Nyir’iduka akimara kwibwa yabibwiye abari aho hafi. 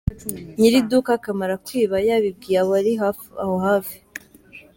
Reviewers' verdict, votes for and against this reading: rejected, 0, 2